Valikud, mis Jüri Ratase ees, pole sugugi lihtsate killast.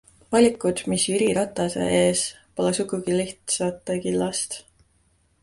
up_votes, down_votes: 2, 0